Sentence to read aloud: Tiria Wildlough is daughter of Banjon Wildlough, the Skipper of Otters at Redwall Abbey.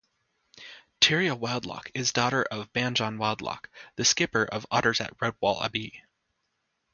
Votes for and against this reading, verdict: 2, 0, accepted